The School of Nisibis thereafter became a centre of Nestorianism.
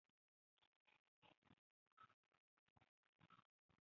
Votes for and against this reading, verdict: 0, 3, rejected